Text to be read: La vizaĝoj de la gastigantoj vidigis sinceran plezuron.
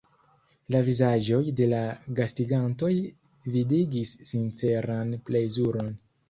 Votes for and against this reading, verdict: 0, 3, rejected